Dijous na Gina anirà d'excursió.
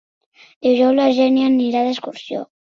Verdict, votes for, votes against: rejected, 1, 3